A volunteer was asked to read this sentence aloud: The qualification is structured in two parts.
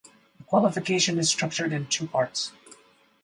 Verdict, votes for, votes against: rejected, 0, 4